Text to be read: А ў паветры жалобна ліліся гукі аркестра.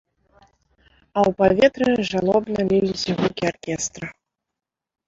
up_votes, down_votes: 0, 2